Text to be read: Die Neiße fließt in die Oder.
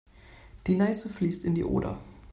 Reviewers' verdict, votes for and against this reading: accepted, 2, 0